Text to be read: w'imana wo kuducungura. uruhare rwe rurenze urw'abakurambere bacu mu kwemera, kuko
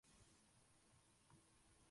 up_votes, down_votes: 0, 2